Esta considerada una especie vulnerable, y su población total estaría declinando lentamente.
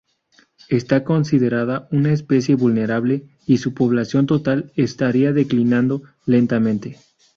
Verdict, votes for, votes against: accepted, 2, 0